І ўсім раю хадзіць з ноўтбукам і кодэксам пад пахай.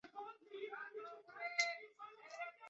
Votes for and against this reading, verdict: 0, 2, rejected